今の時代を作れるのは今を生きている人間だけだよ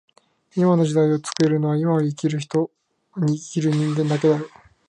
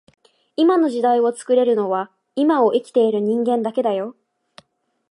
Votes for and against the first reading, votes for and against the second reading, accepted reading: 0, 2, 2, 0, second